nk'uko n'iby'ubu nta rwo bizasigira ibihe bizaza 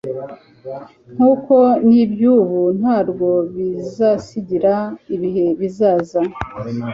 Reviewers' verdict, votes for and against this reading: accepted, 2, 0